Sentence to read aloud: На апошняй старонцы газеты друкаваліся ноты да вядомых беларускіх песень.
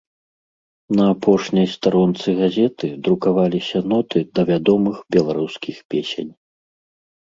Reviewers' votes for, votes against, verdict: 2, 0, accepted